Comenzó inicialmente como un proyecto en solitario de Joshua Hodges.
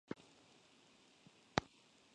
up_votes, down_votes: 0, 2